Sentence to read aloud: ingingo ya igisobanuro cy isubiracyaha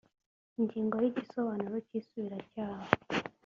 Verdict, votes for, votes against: accepted, 2, 0